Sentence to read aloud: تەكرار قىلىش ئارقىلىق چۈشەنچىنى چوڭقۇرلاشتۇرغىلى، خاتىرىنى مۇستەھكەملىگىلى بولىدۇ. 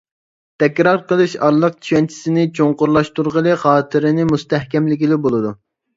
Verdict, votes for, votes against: rejected, 0, 2